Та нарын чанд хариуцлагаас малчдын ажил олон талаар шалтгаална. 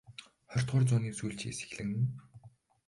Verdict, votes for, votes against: rejected, 0, 2